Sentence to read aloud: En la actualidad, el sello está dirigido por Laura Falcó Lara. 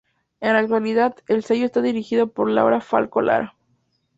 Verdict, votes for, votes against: accepted, 2, 0